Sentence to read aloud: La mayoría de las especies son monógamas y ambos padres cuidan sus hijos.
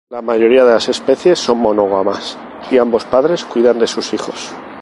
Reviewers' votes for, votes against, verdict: 2, 0, accepted